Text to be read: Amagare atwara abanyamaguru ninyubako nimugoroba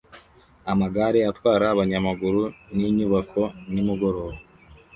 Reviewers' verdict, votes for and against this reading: accepted, 2, 0